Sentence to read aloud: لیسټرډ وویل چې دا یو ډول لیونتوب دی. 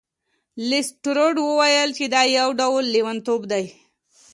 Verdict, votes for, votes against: accepted, 2, 0